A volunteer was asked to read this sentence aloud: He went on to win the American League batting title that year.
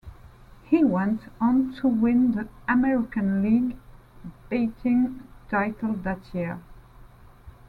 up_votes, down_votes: 0, 2